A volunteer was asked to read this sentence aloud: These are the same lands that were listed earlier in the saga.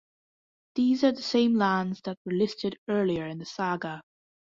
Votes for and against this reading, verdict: 2, 0, accepted